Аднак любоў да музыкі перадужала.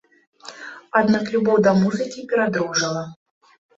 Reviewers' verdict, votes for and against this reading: rejected, 1, 2